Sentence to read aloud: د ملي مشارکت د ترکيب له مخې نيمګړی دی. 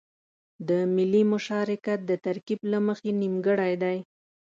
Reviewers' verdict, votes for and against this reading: accepted, 2, 0